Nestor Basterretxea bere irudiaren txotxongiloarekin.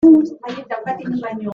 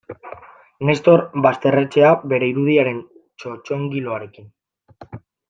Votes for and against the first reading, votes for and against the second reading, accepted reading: 0, 2, 2, 0, second